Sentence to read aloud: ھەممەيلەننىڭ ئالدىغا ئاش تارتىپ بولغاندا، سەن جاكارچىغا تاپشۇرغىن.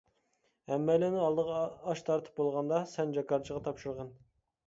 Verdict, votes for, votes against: accepted, 2, 0